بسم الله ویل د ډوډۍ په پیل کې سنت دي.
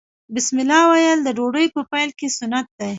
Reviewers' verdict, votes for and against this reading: accepted, 2, 0